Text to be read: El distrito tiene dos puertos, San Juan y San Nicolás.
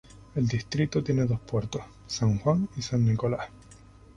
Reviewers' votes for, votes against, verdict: 0, 2, rejected